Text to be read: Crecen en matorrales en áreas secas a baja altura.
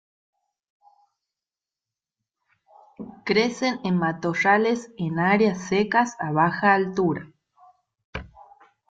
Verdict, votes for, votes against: rejected, 1, 2